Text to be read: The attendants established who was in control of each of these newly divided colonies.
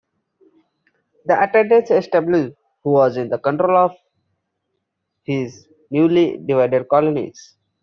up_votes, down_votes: 0, 2